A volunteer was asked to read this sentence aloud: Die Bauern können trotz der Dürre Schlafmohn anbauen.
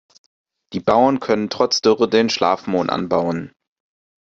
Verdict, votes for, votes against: rejected, 0, 2